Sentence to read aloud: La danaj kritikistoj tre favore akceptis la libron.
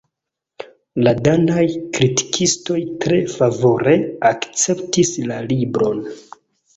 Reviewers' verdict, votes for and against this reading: accepted, 2, 0